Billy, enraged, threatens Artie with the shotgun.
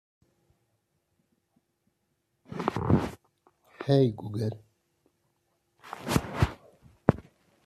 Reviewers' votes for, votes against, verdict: 0, 3, rejected